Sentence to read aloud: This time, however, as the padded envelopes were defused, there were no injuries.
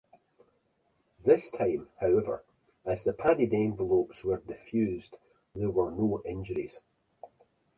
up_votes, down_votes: 2, 0